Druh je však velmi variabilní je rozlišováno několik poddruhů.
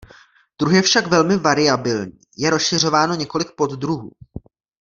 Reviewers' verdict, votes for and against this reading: rejected, 0, 2